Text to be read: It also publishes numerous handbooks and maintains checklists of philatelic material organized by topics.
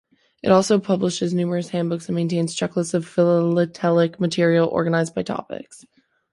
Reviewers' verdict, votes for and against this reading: rejected, 0, 2